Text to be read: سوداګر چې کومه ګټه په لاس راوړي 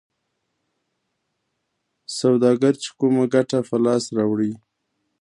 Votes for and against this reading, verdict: 1, 2, rejected